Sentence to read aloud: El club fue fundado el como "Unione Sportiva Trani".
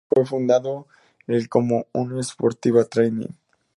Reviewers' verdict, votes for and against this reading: rejected, 0, 2